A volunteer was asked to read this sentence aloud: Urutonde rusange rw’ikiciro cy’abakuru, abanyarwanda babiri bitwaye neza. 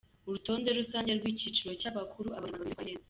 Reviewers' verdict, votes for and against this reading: rejected, 1, 2